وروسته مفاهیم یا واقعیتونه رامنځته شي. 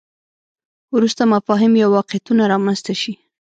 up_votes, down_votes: 2, 1